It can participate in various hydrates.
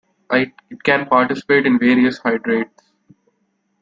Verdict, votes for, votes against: rejected, 0, 2